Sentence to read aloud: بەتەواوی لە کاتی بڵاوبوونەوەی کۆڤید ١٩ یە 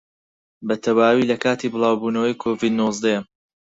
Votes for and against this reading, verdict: 0, 2, rejected